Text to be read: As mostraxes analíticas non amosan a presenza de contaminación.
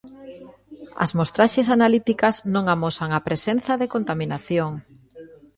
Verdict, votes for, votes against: rejected, 1, 2